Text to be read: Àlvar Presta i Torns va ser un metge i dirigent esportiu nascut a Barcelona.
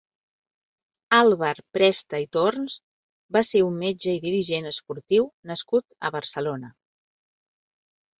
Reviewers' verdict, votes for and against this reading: accepted, 4, 0